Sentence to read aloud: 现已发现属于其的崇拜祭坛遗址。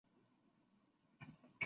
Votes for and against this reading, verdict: 1, 5, rejected